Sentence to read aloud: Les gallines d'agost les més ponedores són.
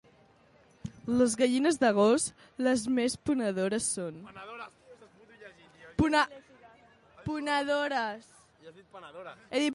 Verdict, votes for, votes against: rejected, 0, 2